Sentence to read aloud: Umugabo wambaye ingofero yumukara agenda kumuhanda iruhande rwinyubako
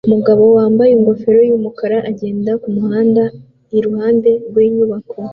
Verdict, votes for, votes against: accepted, 2, 0